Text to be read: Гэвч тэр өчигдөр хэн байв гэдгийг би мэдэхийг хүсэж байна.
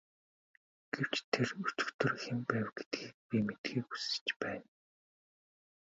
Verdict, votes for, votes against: accepted, 2, 0